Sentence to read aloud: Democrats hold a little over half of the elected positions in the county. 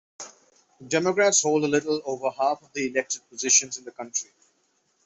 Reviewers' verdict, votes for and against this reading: accepted, 2, 0